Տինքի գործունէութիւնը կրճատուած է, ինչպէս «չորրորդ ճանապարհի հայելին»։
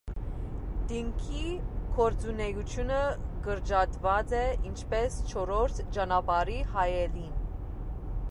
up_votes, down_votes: 2, 0